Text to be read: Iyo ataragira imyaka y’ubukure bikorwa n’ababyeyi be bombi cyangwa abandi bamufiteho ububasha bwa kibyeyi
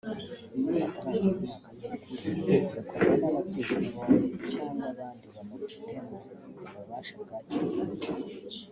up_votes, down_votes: 0, 4